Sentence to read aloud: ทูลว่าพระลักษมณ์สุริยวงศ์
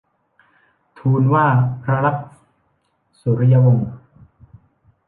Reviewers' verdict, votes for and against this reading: rejected, 0, 2